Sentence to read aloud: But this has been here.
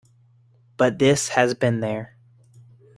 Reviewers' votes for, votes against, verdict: 0, 2, rejected